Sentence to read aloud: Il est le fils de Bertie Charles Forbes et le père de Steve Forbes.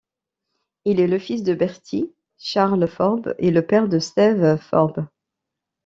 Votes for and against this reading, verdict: 0, 2, rejected